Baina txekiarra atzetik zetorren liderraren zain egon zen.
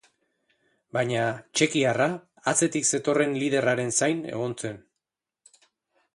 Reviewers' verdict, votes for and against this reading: accepted, 2, 0